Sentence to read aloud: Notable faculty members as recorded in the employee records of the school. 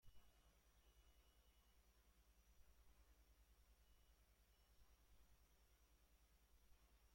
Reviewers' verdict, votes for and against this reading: rejected, 0, 2